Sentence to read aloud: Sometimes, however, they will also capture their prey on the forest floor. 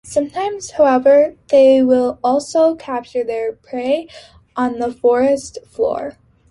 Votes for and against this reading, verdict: 3, 1, accepted